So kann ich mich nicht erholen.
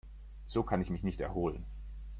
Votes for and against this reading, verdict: 2, 0, accepted